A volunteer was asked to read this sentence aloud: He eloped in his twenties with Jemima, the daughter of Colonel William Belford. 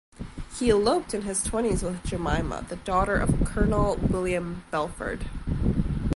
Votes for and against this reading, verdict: 2, 0, accepted